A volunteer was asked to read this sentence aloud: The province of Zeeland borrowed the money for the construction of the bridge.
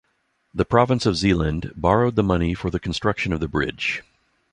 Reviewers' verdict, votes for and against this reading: accepted, 2, 0